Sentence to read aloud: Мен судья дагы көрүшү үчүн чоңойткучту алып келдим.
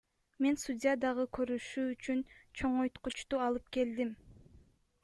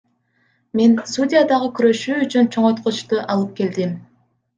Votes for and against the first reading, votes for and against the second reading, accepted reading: 1, 2, 2, 0, second